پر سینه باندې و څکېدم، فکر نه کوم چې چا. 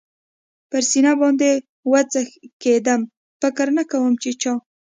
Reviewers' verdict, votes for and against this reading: accepted, 2, 0